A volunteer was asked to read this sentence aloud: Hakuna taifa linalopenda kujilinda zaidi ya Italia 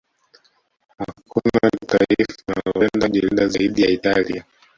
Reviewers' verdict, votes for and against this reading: rejected, 0, 2